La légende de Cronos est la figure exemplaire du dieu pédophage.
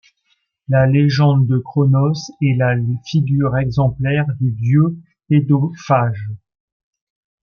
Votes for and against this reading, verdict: 2, 0, accepted